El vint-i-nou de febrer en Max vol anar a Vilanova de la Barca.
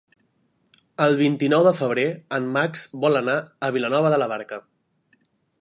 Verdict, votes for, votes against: accepted, 3, 0